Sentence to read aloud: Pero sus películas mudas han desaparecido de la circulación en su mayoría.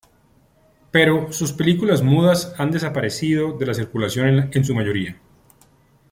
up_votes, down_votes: 2, 0